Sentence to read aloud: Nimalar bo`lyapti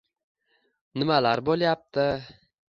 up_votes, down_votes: 2, 0